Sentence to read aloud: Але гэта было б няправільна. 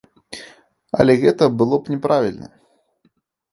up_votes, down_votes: 2, 0